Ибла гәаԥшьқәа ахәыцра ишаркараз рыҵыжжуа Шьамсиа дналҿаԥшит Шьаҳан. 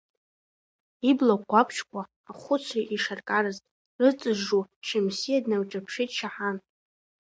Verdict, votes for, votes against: rejected, 1, 2